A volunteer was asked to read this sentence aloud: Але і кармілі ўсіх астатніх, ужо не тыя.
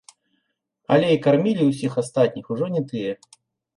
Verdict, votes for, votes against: accepted, 2, 0